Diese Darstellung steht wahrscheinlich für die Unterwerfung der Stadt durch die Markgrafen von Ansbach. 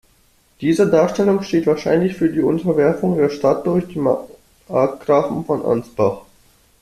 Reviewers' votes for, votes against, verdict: 1, 2, rejected